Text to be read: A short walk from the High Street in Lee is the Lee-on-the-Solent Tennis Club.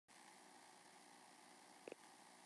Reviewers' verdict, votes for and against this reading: rejected, 0, 2